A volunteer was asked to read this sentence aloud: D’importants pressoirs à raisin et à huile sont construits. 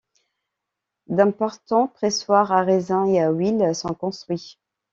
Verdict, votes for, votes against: accepted, 2, 0